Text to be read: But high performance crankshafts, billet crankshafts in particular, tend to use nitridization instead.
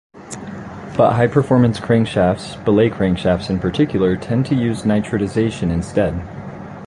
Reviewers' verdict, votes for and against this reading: accepted, 2, 0